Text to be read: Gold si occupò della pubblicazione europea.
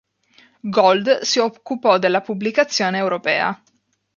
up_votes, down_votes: 3, 0